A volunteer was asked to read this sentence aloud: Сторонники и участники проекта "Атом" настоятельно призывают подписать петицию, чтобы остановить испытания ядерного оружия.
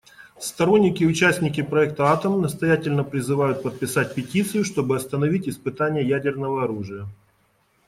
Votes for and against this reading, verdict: 2, 0, accepted